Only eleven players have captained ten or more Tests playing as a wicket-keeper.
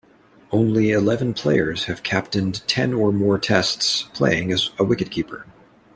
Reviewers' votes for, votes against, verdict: 2, 0, accepted